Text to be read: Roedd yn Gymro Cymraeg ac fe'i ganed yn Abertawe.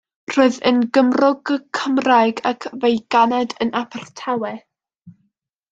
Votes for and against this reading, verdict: 1, 2, rejected